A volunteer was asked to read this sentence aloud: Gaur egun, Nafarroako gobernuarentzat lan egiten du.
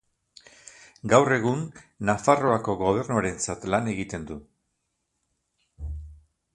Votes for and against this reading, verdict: 2, 0, accepted